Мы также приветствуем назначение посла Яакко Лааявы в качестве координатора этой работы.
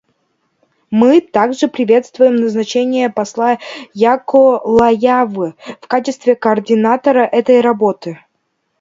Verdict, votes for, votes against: rejected, 0, 2